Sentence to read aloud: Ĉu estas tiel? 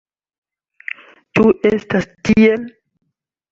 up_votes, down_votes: 2, 0